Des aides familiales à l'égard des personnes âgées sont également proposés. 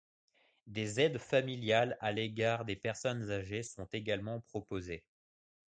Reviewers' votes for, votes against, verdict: 2, 0, accepted